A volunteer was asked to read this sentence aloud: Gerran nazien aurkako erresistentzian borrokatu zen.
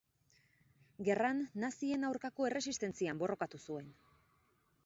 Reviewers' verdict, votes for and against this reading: rejected, 0, 4